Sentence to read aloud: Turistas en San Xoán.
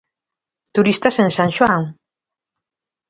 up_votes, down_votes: 2, 0